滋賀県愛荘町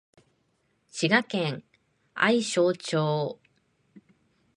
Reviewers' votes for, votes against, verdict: 2, 0, accepted